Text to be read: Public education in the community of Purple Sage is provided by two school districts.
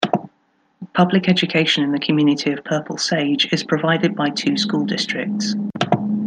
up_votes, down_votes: 2, 0